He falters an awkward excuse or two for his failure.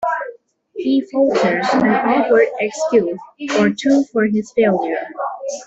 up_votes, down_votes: 0, 2